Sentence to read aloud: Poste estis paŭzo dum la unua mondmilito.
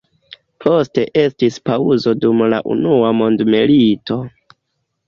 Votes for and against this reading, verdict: 2, 0, accepted